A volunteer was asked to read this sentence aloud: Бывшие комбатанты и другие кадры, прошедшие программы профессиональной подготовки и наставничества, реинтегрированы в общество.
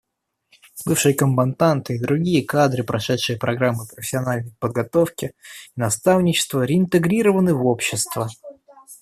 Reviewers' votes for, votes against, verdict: 1, 2, rejected